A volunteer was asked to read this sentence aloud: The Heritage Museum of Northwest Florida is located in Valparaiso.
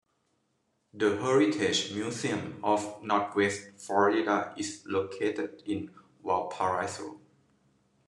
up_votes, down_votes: 2, 0